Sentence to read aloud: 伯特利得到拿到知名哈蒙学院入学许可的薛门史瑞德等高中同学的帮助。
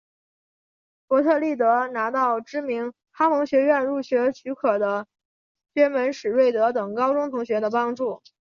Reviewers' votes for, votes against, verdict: 6, 0, accepted